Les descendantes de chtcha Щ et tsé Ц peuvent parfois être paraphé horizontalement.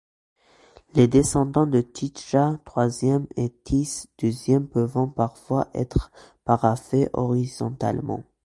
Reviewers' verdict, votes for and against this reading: rejected, 1, 2